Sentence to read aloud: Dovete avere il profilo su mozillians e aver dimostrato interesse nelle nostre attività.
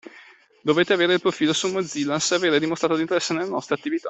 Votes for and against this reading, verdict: 2, 0, accepted